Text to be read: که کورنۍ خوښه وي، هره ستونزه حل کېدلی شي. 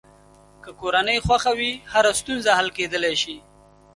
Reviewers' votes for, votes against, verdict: 3, 0, accepted